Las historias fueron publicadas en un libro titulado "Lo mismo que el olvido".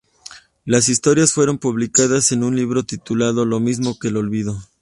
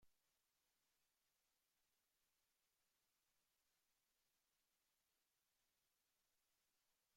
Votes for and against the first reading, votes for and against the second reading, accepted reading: 2, 0, 0, 2, first